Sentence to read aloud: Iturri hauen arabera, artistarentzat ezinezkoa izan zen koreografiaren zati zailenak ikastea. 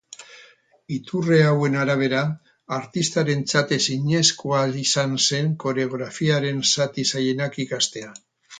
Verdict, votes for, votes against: accepted, 4, 2